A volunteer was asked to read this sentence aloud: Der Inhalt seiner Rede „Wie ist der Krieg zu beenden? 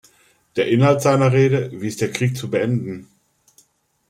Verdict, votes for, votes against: accepted, 2, 0